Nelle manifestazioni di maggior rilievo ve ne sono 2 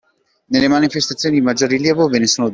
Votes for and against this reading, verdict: 0, 2, rejected